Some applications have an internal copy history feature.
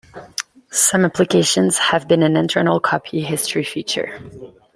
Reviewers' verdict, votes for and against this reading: accepted, 2, 0